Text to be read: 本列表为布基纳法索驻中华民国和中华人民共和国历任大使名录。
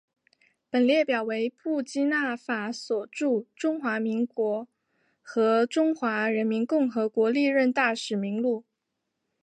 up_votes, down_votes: 3, 0